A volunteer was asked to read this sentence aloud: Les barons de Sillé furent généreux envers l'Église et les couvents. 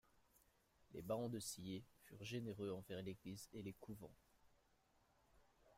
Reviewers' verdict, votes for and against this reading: accepted, 2, 1